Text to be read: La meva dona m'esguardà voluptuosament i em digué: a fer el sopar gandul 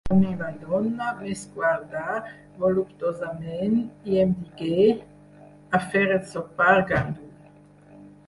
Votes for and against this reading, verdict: 2, 4, rejected